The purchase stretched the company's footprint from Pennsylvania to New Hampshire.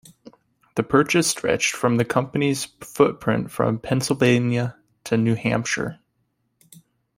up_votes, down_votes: 1, 2